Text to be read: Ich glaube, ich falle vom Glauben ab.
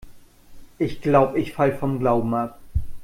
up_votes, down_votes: 1, 2